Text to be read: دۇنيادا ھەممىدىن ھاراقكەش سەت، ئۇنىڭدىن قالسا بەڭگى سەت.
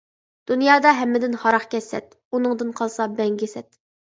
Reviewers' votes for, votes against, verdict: 2, 0, accepted